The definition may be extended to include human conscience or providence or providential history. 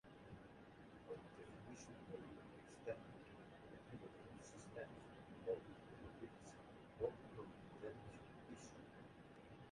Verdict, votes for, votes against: rejected, 0, 2